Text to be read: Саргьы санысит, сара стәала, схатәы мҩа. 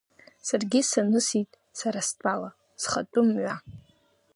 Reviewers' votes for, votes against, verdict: 2, 1, accepted